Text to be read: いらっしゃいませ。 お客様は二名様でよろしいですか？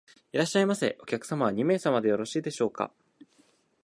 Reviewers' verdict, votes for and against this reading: rejected, 1, 2